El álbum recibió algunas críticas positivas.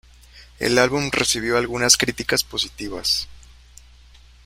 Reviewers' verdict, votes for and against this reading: rejected, 1, 2